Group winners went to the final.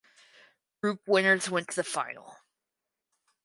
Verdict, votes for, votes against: rejected, 2, 4